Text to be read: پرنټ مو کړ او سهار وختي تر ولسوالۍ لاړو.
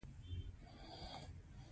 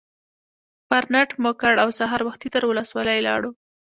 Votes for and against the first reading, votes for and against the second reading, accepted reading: 2, 1, 1, 2, first